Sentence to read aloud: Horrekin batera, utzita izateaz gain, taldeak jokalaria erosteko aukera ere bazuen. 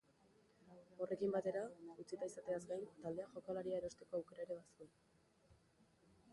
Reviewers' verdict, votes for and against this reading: rejected, 0, 2